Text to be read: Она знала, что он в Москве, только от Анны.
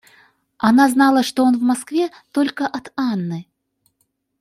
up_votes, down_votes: 2, 0